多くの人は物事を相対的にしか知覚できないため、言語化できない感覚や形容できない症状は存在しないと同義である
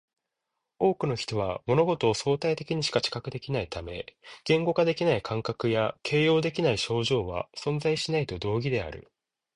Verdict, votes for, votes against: rejected, 1, 2